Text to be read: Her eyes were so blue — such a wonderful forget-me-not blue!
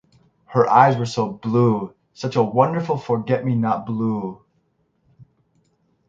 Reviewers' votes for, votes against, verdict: 6, 0, accepted